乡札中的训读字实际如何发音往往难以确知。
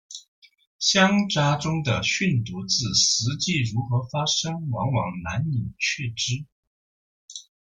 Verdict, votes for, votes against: rejected, 1, 2